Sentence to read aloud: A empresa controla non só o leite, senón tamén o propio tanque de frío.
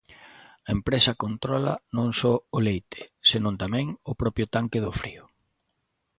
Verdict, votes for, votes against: rejected, 0, 3